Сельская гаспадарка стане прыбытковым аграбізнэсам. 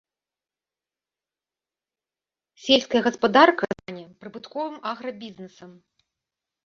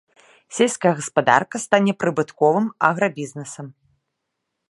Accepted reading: second